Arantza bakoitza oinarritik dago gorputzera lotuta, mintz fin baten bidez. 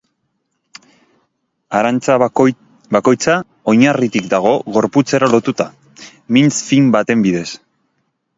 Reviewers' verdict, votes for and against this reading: rejected, 0, 2